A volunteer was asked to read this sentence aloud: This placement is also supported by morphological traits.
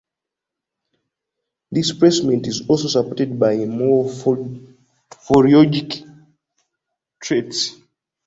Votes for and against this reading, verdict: 0, 2, rejected